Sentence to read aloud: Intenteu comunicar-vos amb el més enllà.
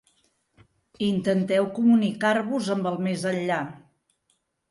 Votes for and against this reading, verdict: 2, 0, accepted